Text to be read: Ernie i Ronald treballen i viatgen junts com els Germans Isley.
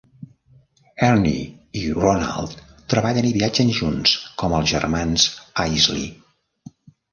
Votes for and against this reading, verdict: 1, 2, rejected